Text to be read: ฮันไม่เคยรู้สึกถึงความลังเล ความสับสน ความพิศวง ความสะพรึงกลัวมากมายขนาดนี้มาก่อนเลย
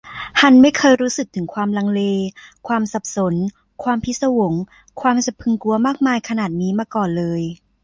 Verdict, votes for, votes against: accepted, 2, 0